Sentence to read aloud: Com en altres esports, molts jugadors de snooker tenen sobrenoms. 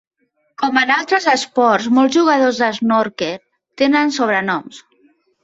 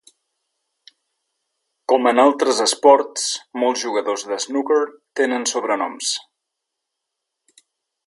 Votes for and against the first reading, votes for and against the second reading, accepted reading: 0, 2, 2, 0, second